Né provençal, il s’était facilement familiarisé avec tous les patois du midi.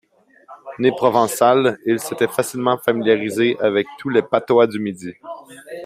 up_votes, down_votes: 2, 1